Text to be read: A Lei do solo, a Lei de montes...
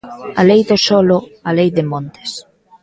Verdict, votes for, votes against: accepted, 2, 0